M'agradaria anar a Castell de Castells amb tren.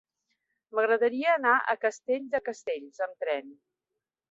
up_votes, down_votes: 3, 0